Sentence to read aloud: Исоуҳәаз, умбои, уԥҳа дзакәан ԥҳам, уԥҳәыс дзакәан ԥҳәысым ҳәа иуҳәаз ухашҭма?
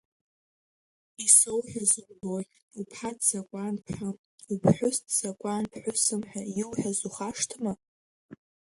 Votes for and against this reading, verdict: 1, 2, rejected